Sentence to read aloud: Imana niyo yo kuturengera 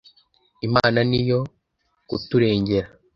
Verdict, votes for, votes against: rejected, 1, 2